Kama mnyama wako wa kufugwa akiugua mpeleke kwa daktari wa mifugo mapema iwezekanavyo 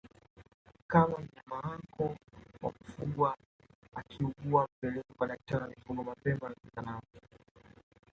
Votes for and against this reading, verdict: 0, 2, rejected